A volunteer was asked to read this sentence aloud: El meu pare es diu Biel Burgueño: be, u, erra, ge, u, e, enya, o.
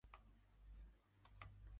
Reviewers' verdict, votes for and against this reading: rejected, 0, 2